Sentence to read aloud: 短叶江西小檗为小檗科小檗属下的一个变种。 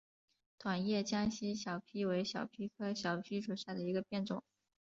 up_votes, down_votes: 2, 0